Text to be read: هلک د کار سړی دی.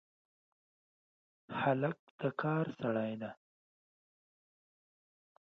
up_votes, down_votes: 2, 0